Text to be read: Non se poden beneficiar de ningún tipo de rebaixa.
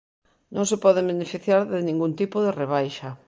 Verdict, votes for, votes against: accepted, 2, 0